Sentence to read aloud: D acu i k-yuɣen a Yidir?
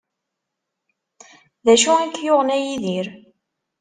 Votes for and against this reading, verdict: 2, 0, accepted